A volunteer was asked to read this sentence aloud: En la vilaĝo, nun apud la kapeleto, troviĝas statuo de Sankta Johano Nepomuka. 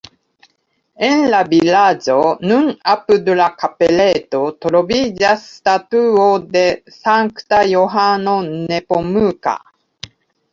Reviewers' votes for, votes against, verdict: 2, 0, accepted